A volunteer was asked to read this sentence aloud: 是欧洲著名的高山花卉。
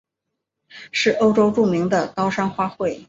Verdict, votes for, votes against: accepted, 3, 1